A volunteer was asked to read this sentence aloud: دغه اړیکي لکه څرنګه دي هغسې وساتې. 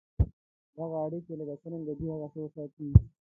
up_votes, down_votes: 2, 0